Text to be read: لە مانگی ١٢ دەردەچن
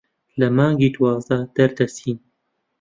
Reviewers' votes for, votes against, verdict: 0, 2, rejected